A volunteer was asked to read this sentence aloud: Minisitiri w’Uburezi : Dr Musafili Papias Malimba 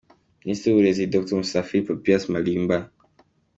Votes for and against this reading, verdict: 2, 0, accepted